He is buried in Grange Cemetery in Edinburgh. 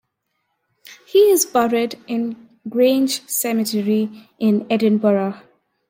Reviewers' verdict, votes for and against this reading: rejected, 1, 2